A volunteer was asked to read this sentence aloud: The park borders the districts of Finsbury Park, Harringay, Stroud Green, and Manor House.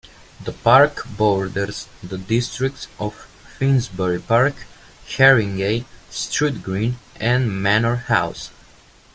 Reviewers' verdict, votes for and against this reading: accepted, 2, 1